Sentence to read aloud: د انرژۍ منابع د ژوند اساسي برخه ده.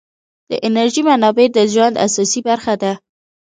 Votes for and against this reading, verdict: 1, 2, rejected